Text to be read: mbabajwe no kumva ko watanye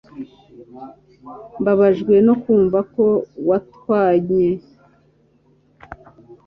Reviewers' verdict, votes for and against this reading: rejected, 1, 2